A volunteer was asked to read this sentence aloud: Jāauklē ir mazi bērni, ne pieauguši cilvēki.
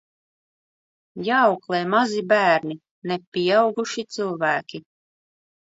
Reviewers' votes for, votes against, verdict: 0, 2, rejected